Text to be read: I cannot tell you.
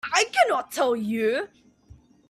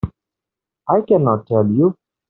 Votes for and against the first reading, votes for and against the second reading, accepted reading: 2, 0, 1, 2, first